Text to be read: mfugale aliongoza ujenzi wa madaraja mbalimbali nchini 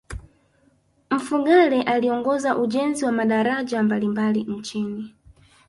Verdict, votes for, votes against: rejected, 2, 3